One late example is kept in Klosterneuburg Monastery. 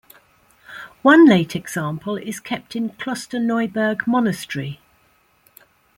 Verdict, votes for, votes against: accepted, 2, 0